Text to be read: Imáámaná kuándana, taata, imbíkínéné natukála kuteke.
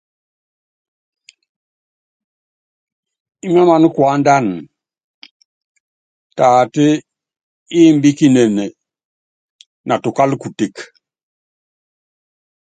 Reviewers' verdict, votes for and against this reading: accepted, 2, 0